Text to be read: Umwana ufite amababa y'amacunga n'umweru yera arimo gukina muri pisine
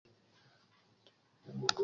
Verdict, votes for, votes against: rejected, 0, 2